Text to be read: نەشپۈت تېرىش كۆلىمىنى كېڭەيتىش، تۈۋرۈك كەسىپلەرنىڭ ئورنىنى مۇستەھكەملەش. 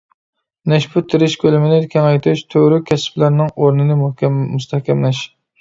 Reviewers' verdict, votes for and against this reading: rejected, 0, 2